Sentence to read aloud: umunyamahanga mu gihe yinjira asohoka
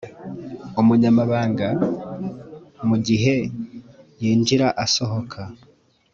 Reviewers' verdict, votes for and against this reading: rejected, 1, 2